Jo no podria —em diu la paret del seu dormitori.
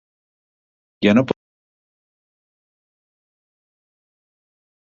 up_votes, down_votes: 1, 3